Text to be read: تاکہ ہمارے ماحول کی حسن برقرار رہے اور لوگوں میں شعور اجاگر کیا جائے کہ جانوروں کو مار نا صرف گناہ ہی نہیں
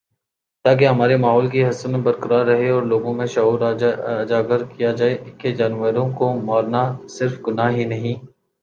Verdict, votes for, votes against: rejected, 2, 2